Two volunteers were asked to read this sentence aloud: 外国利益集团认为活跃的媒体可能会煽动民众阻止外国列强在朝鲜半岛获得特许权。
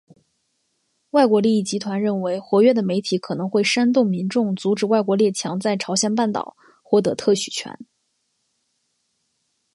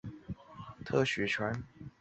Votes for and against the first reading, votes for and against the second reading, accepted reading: 2, 0, 1, 2, first